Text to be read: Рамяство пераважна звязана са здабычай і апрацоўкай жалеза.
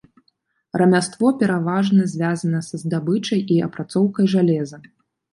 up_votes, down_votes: 1, 2